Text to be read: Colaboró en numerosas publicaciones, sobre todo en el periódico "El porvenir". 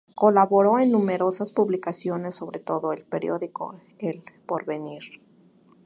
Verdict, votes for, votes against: accepted, 2, 0